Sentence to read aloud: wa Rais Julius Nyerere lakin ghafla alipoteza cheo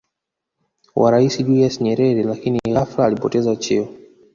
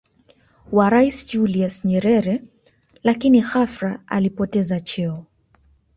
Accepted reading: second